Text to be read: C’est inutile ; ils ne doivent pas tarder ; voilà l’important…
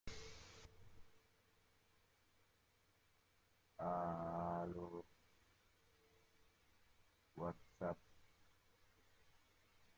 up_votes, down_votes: 0, 2